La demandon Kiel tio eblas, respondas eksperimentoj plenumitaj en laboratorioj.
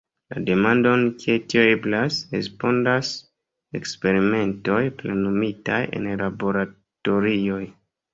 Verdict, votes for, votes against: accepted, 2, 0